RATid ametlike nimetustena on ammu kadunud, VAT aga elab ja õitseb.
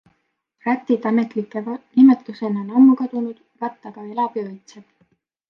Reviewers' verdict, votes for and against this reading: rejected, 0, 2